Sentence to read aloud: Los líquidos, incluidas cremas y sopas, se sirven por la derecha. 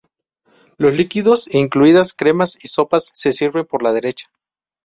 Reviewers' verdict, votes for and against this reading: accepted, 2, 0